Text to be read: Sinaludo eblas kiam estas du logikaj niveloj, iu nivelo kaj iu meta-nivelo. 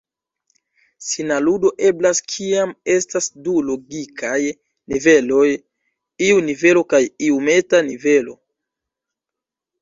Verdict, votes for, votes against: accepted, 2, 1